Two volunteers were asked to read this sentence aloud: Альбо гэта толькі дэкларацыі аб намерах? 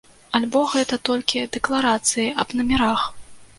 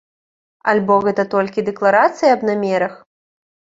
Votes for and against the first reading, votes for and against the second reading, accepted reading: 0, 2, 2, 0, second